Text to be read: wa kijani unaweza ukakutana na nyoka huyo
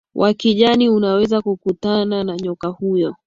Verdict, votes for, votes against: accepted, 2, 0